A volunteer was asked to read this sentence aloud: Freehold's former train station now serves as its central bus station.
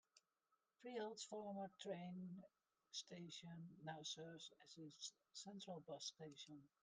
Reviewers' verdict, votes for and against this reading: rejected, 1, 2